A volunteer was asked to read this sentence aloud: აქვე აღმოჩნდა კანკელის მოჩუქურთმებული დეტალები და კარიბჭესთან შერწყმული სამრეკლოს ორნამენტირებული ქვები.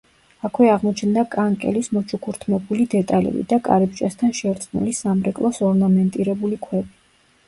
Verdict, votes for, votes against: rejected, 1, 2